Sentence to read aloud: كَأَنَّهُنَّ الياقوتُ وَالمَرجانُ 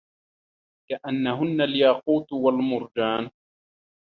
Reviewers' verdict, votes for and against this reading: rejected, 1, 2